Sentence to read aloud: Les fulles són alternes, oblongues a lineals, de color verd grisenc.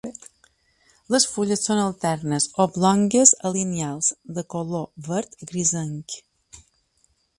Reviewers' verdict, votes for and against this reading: accepted, 2, 0